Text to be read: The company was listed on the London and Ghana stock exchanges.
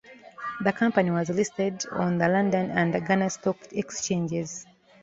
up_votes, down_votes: 2, 0